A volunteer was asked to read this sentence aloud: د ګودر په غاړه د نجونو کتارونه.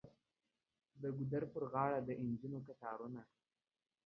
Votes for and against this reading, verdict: 2, 0, accepted